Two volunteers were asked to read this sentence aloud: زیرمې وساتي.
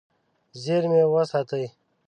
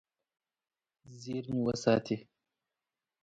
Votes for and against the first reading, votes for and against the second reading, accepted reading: 0, 2, 2, 0, second